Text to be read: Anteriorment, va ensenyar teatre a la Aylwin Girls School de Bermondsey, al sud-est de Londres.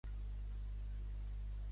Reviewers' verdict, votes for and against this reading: rejected, 0, 2